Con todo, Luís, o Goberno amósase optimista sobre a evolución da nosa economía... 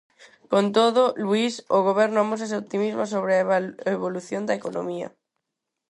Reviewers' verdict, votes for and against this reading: rejected, 0, 4